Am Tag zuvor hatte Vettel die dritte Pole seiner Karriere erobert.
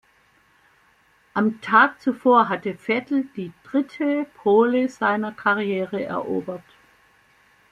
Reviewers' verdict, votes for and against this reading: rejected, 1, 2